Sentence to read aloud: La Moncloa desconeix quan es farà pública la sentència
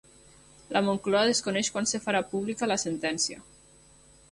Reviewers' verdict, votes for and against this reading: rejected, 2, 3